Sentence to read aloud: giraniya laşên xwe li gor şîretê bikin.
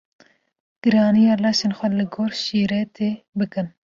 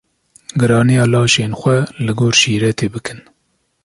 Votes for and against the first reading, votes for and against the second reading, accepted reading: 1, 2, 2, 0, second